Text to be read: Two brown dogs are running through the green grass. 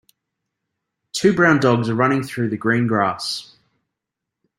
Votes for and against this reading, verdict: 2, 0, accepted